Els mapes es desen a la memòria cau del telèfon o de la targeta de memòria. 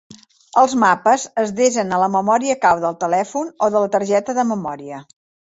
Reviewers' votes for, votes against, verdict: 3, 0, accepted